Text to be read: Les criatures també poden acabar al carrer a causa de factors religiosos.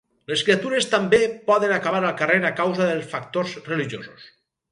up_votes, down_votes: 0, 4